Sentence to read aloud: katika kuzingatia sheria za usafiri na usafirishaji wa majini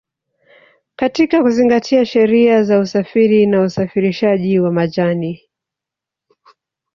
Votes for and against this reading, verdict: 1, 2, rejected